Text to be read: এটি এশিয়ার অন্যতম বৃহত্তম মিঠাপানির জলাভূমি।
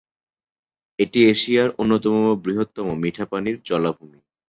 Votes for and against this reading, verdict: 2, 0, accepted